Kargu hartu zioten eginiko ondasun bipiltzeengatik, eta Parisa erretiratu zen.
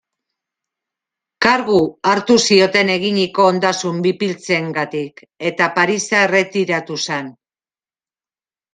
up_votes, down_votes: 0, 2